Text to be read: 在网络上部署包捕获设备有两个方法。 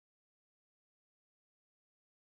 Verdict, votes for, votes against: rejected, 0, 3